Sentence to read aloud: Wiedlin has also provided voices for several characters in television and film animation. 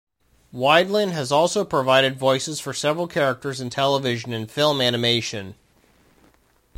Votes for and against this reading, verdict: 2, 0, accepted